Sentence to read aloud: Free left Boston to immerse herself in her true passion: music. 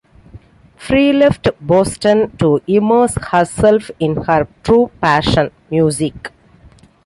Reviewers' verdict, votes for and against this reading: accepted, 2, 0